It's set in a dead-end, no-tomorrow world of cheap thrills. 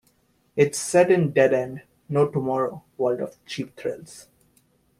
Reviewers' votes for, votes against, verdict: 0, 2, rejected